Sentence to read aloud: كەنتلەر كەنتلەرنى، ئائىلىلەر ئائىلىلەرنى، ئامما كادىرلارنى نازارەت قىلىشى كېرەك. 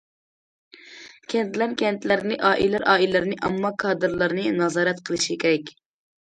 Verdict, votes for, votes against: accepted, 2, 0